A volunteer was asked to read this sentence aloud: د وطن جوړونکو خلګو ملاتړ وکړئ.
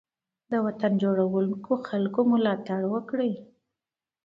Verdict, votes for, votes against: accepted, 2, 0